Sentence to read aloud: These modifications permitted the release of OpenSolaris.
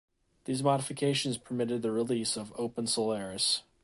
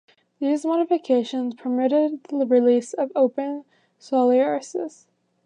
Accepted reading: first